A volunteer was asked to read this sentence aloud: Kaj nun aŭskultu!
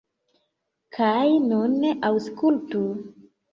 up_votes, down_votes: 1, 2